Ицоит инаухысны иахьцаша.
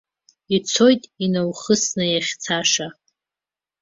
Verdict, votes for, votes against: accepted, 2, 0